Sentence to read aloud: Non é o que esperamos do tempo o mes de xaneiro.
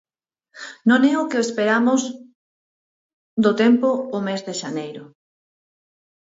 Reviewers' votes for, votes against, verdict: 2, 4, rejected